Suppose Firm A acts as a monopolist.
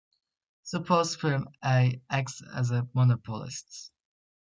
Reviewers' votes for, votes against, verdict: 1, 2, rejected